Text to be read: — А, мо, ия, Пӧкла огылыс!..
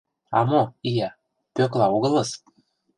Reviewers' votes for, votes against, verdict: 2, 0, accepted